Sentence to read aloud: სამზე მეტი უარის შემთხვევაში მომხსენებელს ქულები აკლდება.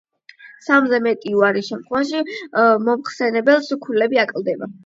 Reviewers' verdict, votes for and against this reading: accepted, 8, 0